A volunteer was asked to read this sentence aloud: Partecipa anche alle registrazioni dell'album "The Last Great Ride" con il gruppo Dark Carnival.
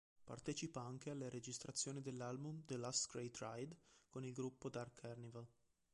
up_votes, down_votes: 2, 1